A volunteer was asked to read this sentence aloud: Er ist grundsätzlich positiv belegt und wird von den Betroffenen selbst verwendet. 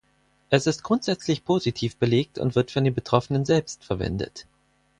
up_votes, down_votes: 0, 4